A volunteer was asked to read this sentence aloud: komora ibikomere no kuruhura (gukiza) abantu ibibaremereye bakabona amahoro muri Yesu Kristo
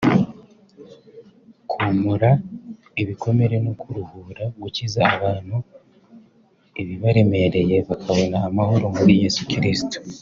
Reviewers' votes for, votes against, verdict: 5, 0, accepted